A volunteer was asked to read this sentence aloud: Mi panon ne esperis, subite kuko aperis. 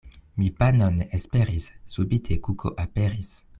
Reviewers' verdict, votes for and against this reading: rejected, 0, 2